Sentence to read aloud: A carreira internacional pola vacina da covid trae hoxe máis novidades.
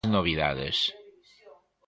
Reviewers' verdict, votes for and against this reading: rejected, 0, 2